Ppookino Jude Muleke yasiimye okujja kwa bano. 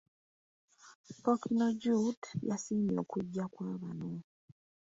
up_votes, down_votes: 0, 2